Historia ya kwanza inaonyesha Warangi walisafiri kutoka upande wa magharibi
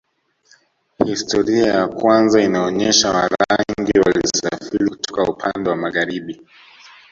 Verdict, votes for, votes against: rejected, 1, 2